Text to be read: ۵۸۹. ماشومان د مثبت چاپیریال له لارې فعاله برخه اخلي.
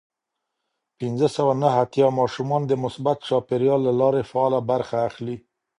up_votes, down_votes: 0, 2